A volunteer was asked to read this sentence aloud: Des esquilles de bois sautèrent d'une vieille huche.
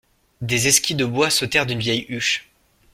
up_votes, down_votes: 2, 0